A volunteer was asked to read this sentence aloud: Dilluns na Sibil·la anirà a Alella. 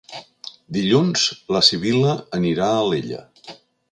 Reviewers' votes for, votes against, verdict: 1, 3, rejected